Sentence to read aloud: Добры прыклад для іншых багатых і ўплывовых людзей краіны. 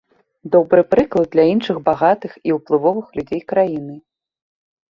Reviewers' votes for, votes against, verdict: 2, 0, accepted